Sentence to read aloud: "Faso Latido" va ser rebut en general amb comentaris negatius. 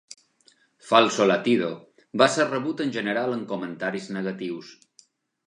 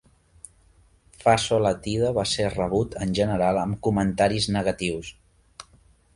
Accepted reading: second